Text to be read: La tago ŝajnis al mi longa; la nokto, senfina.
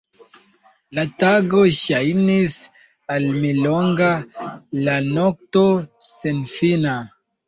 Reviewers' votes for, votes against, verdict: 1, 2, rejected